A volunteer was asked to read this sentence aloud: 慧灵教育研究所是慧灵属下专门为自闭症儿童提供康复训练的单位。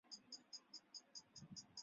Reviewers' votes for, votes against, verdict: 0, 5, rejected